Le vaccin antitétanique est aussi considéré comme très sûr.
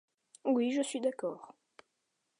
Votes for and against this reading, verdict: 0, 2, rejected